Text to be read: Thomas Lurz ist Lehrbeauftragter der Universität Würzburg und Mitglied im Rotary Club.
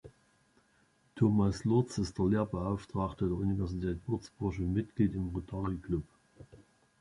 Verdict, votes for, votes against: accepted, 2, 0